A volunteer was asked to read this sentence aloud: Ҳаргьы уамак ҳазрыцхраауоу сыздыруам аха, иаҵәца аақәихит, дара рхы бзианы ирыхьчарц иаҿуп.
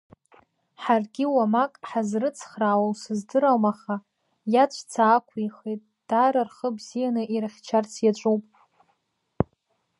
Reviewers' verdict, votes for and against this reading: accepted, 2, 1